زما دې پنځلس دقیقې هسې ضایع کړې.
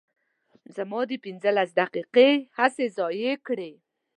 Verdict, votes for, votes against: accepted, 2, 0